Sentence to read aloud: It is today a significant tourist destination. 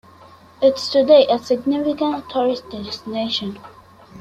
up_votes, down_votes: 1, 2